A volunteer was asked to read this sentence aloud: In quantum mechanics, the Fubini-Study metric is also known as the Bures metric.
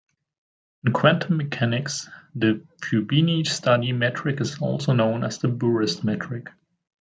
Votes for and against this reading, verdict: 2, 0, accepted